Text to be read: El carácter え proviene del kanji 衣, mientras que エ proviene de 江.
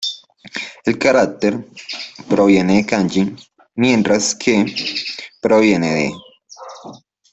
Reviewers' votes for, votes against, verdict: 1, 2, rejected